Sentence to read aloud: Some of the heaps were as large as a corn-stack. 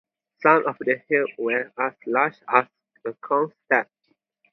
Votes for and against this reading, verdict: 0, 2, rejected